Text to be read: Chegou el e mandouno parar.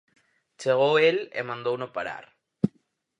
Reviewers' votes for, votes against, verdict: 4, 0, accepted